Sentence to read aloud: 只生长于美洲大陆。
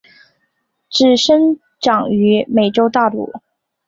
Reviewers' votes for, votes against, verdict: 3, 0, accepted